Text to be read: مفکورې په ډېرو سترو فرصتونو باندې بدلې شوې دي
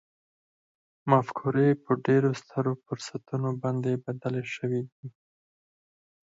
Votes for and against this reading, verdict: 4, 2, accepted